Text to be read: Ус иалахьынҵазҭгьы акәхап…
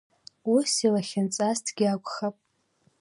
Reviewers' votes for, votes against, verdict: 2, 1, accepted